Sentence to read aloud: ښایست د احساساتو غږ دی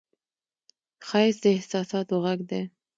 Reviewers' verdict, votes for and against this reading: accepted, 2, 0